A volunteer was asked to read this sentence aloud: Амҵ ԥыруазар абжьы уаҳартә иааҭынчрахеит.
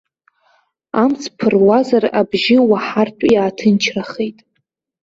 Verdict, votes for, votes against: accepted, 2, 0